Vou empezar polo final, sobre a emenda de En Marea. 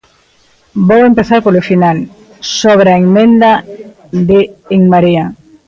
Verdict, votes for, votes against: accepted, 2, 0